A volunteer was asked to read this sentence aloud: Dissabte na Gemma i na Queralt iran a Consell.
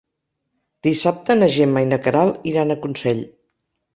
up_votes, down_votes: 4, 0